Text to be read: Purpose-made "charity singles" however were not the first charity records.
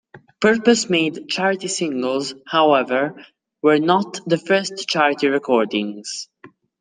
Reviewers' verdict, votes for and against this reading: rejected, 1, 2